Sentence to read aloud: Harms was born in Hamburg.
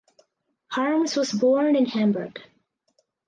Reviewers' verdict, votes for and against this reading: accepted, 4, 0